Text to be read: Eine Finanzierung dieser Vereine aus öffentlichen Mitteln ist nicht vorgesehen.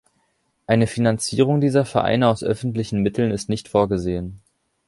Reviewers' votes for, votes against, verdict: 3, 0, accepted